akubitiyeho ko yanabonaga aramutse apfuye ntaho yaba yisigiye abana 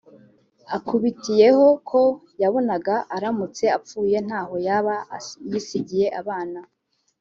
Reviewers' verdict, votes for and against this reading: accepted, 2, 1